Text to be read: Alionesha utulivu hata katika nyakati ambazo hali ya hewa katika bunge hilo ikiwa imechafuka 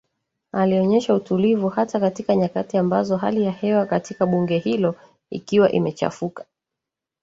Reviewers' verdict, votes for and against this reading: rejected, 1, 2